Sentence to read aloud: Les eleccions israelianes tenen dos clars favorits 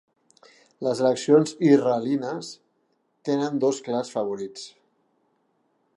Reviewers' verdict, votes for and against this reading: rejected, 0, 2